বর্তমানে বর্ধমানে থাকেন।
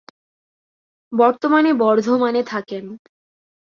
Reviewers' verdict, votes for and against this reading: accepted, 2, 0